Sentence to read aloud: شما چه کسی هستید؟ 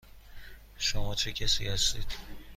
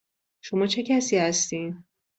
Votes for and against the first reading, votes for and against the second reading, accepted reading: 2, 0, 0, 2, first